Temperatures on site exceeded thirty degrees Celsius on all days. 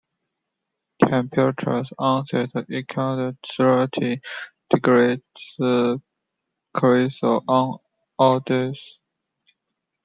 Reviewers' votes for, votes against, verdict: 2, 1, accepted